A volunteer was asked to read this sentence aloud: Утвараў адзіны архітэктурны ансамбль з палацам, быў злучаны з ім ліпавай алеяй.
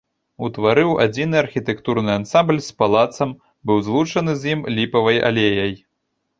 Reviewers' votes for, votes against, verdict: 0, 2, rejected